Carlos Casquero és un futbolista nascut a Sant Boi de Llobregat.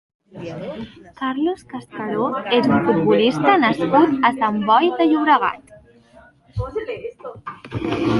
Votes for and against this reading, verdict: 0, 2, rejected